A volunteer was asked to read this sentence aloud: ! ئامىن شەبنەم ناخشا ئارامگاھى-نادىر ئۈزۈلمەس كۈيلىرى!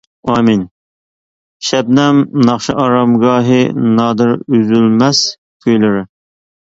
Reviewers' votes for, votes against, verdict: 1, 2, rejected